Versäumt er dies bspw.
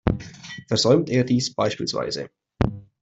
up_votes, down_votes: 2, 0